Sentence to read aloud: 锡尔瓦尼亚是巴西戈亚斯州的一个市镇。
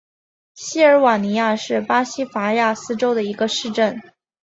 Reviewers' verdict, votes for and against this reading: accepted, 2, 0